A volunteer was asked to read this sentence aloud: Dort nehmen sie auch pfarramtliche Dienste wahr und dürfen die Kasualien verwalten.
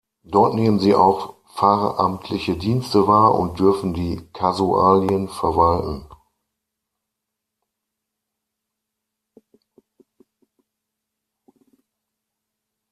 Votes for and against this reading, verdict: 0, 6, rejected